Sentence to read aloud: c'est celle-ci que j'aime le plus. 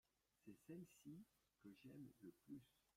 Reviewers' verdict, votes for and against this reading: rejected, 0, 2